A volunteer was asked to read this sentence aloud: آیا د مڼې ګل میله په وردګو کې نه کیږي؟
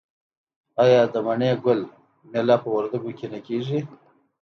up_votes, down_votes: 2, 0